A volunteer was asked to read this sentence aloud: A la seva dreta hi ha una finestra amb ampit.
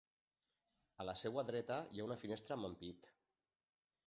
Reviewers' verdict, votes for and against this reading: rejected, 0, 2